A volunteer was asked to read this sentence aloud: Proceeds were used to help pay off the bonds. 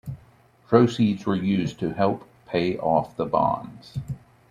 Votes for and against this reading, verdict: 2, 0, accepted